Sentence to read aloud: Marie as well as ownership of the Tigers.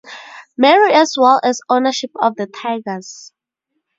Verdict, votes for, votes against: rejected, 2, 4